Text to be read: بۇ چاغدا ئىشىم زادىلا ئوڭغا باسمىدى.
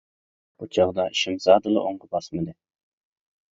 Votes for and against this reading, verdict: 2, 0, accepted